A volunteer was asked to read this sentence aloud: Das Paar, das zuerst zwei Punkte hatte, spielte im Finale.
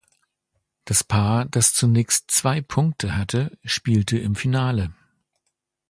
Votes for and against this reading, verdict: 0, 2, rejected